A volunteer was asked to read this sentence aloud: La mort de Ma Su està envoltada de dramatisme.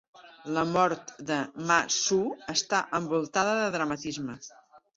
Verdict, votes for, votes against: accepted, 3, 0